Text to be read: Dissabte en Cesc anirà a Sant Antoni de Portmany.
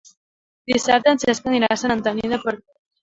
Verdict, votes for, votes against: rejected, 0, 3